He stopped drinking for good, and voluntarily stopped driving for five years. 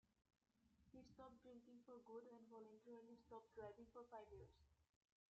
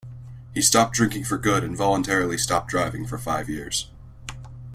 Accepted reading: second